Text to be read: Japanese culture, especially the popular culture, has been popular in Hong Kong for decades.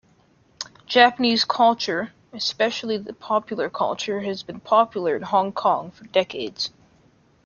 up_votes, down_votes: 2, 0